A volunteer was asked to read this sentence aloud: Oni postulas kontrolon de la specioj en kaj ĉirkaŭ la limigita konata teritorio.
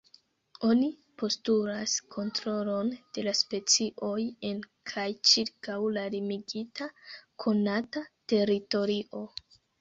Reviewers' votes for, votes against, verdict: 2, 0, accepted